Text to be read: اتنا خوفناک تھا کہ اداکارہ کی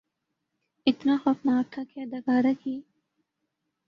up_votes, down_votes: 2, 0